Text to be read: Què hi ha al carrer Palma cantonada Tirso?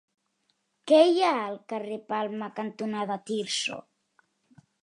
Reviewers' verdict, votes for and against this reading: accepted, 3, 0